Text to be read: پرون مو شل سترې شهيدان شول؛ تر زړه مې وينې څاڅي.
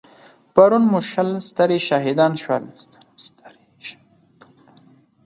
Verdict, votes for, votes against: rejected, 0, 4